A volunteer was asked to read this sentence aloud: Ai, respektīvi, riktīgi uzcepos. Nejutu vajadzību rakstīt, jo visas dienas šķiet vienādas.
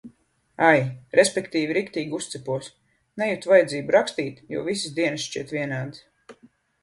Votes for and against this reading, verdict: 2, 0, accepted